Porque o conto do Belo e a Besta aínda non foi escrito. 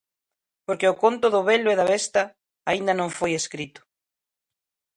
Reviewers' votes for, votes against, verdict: 0, 2, rejected